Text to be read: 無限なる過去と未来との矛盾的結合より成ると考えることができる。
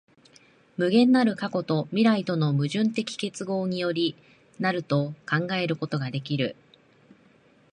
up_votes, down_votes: 1, 2